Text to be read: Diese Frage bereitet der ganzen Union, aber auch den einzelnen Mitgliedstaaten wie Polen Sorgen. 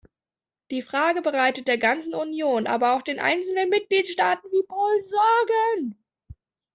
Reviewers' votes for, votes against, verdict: 1, 2, rejected